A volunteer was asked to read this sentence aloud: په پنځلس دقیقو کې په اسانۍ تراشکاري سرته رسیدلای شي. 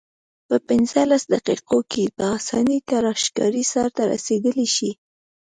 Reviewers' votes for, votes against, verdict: 2, 0, accepted